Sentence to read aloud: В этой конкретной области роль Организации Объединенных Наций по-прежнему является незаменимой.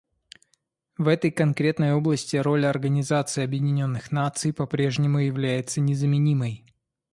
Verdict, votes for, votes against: accepted, 2, 0